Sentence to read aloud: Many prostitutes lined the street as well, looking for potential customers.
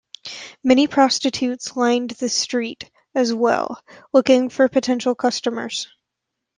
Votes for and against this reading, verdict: 2, 0, accepted